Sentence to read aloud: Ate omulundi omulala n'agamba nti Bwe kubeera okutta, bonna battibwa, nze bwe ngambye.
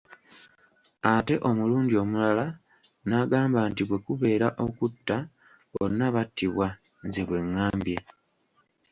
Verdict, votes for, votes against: rejected, 1, 2